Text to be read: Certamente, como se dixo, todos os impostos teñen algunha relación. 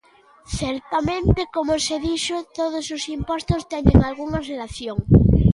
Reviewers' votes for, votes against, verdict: 2, 0, accepted